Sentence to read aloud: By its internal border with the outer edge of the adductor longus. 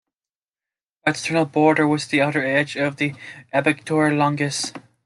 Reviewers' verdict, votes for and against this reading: rejected, 0, 2